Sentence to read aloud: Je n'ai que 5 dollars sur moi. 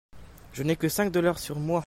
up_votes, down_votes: 0, 2